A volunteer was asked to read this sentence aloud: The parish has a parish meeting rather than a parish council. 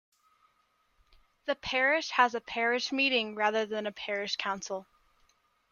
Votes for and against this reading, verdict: 2, 0, accepted